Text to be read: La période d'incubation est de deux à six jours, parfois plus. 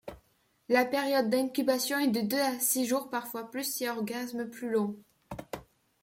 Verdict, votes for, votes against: rejected, 1, 2